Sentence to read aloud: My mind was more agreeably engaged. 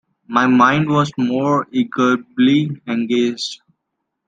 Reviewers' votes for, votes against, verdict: 1, 2, rejected